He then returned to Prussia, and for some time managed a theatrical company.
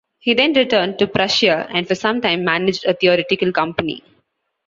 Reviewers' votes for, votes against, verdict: 1, 2, rejected